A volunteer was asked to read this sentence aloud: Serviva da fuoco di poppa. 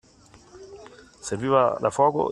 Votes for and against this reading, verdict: 0, 2, rejected